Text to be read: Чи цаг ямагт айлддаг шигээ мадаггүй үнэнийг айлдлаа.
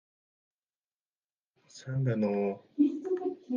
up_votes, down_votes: 0, 2